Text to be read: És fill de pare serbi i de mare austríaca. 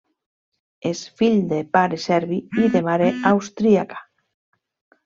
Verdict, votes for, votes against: rejected, 0, 2